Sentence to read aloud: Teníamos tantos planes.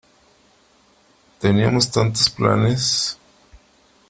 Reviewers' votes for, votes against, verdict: 2, 0, accepted